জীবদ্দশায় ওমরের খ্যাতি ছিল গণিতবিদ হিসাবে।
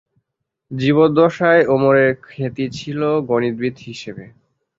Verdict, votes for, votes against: rejected, 0, 2